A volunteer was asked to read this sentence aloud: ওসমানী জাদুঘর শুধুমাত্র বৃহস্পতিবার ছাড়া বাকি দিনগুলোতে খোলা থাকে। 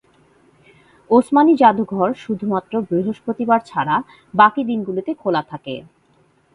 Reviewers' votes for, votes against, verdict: 2, 0, accepted